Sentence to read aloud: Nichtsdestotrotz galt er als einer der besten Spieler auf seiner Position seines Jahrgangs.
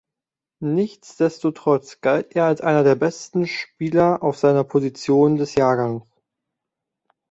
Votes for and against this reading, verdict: 0, 2, rejected